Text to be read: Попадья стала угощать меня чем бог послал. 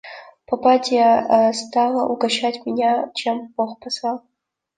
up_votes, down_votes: 2, 1